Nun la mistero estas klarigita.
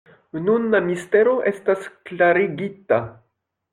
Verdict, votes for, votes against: accepted, 2, 0